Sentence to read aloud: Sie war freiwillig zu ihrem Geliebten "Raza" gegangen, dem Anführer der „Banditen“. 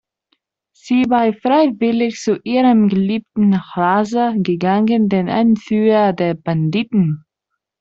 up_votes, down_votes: 0, 2